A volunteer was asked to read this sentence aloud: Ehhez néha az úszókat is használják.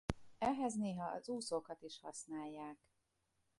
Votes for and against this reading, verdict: 0, 2, rejected